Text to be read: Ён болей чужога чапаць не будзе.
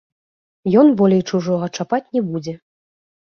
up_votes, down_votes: 2, 0